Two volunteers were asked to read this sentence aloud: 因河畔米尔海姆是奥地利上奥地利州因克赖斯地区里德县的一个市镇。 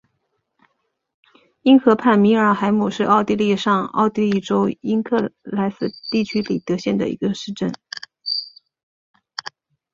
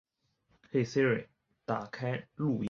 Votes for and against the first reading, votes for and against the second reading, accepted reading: 3, 1, 0, 5, first